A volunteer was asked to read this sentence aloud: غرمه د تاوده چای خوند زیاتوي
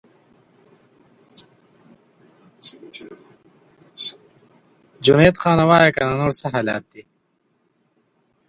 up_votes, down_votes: 0, 3